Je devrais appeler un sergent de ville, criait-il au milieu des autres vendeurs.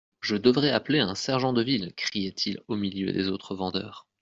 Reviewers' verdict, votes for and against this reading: accepted, 2, 0